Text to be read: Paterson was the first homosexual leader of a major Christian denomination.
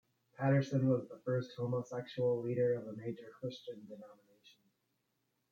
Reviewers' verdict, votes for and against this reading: rejected, 0, 2